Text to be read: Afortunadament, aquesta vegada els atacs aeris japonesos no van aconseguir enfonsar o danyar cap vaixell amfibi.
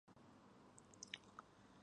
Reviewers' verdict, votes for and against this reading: rejected, 1, 2